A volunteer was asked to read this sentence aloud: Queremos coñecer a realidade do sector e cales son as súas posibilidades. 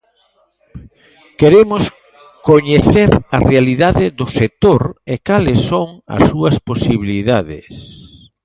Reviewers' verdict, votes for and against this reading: rejected, 0, 2